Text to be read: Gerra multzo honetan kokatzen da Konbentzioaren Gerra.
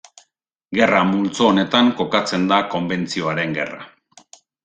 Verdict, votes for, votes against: accepted, 2, 0